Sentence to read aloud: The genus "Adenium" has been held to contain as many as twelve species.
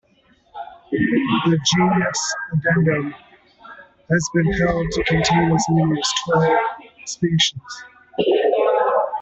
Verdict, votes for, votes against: rejected, 0, 2